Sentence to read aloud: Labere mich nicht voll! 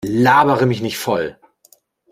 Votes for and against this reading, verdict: 2, 0, accepted